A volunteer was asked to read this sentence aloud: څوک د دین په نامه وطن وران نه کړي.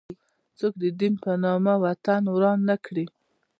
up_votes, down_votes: 2, 1